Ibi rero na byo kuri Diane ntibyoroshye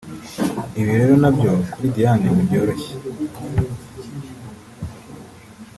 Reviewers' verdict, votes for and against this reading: accepted, 2, 0